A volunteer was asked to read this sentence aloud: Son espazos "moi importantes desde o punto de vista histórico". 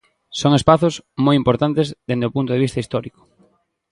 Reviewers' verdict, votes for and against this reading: rejected, 1, 2